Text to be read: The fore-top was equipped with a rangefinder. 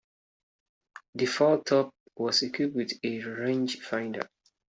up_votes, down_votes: 2, 0